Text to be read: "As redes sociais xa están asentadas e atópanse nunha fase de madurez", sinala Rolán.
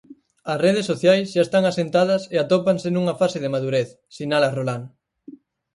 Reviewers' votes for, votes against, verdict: 4, 0, accepted